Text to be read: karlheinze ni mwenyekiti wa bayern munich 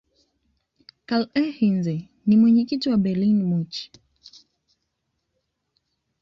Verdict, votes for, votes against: accepted, 2, 0